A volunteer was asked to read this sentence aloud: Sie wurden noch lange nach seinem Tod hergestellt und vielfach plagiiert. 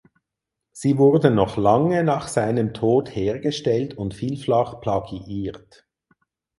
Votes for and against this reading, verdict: 0, 4, rejected